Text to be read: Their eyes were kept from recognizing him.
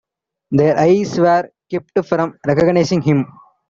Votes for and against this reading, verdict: 2, 0, accepted